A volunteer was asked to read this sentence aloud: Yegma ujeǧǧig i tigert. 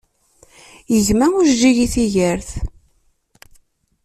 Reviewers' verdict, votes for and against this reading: accepted, 2, 0